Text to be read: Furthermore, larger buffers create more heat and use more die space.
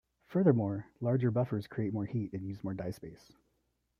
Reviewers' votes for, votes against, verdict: 2, 0, accepted